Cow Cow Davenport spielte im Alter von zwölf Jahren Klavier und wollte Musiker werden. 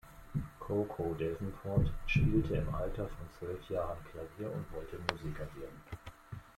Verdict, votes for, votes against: accepted, 2, 0